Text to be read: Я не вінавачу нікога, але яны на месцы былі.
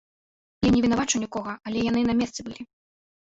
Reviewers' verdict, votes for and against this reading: rejected, 2, 3